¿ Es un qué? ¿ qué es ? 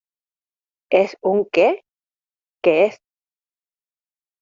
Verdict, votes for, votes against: accepted, 2, 0